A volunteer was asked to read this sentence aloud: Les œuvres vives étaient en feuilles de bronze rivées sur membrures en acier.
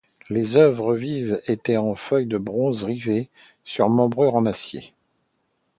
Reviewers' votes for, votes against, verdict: 2, 0, accepted